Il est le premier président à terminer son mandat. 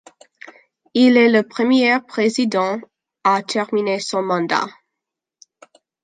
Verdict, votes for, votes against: accepted, 2, 0